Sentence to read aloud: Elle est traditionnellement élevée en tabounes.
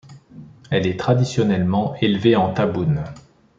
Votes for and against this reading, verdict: 2, 1, accepted